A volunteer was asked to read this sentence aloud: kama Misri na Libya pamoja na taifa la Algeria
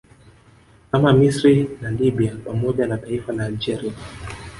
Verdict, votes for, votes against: rejected, 1, 2